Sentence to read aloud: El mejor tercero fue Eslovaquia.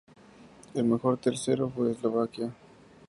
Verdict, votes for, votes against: accepted, 2, 0